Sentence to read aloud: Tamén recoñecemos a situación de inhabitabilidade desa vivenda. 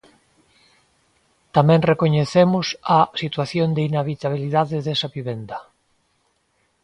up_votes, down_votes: 2, 0